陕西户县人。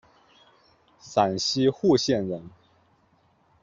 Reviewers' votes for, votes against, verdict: 2, 0, accepted